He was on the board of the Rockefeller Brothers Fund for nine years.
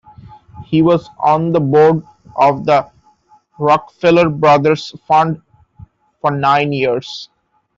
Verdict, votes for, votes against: rejected, 0, 2